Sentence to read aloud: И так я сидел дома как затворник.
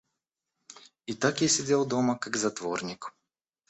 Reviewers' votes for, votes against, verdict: 2, 0, accepted